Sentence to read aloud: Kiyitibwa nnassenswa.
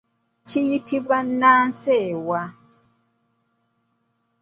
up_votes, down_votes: 1, 2